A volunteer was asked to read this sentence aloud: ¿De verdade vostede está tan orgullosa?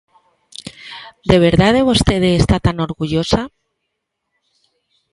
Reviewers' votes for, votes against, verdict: 2, 0, accepted